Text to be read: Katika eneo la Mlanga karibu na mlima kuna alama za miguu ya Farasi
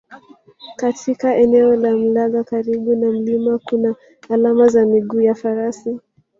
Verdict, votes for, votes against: rejected, 1, 3